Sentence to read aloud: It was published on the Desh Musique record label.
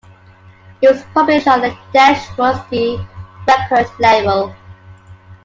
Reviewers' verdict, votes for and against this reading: rejected, 0, 2